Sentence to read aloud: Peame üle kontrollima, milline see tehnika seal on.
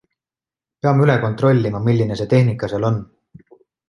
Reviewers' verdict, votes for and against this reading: accepted, 2, 0